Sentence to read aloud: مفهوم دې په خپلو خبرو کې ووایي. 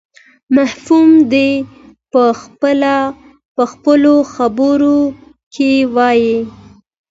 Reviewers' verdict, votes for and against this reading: rejected, 0, 2